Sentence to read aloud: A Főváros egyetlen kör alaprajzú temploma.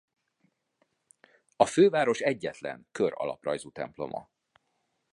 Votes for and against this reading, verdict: 2, 0, accepted